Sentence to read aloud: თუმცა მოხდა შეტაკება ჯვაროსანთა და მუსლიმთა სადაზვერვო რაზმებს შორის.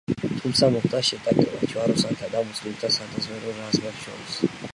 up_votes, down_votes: 2, 3